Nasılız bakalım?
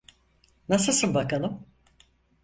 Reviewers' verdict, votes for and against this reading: rejected, 0, 4